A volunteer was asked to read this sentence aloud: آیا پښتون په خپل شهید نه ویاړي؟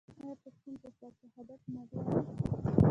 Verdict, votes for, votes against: rejected, 1, 2